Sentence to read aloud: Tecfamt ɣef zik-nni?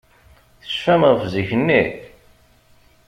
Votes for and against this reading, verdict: 1, 2, rejected